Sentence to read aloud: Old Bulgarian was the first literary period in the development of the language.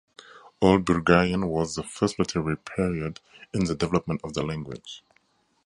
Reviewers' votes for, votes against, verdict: 4, 0, accepted